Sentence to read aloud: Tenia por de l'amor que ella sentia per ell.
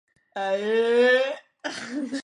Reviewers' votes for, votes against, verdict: 0, 2, rejected